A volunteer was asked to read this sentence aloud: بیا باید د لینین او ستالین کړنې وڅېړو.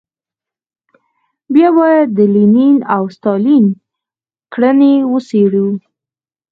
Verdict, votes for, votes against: accepted, 4, 2